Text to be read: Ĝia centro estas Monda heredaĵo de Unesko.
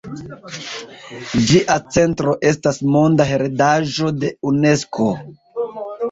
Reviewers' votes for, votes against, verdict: 0, 2, rejected